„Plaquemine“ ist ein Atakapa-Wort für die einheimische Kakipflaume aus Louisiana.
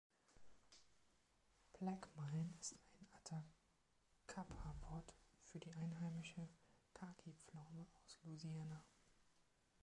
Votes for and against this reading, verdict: 1, 2, rejected